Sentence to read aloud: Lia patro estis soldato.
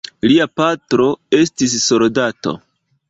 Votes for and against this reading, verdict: 2, 0, accepted